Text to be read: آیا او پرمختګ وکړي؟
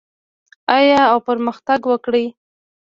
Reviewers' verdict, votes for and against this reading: rejected, 1, 2